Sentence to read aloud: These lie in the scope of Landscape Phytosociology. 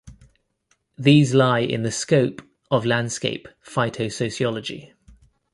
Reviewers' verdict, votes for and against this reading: rejected, 0, 2